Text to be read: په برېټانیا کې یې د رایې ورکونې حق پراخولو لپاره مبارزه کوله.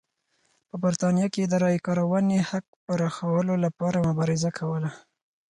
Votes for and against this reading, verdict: 4, 0, accepted